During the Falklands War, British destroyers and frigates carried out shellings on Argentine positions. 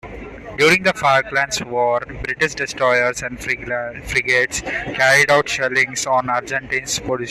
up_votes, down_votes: 0, 2